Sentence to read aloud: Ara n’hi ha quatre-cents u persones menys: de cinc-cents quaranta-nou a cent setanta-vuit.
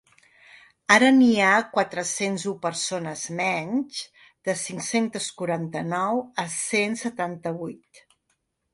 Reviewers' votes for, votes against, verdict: 1, 2, rejected